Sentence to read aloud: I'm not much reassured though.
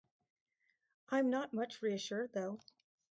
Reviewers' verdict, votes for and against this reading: accepted, 2, 0